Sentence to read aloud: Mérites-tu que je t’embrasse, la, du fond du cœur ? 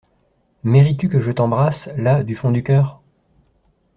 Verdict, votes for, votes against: accepted, 2, 0